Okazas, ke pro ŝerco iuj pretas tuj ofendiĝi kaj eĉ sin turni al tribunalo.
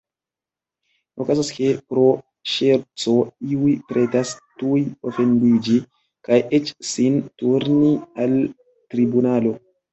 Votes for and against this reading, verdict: 0, 2, rejected